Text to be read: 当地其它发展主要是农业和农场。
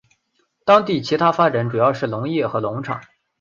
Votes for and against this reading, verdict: 4, 0, accepted